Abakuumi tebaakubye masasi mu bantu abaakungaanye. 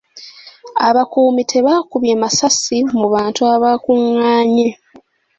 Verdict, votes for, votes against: accepted, 2, 0